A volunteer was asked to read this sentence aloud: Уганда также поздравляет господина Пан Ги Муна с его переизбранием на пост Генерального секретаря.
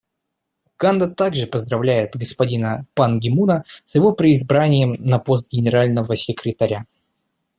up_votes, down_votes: 0, 2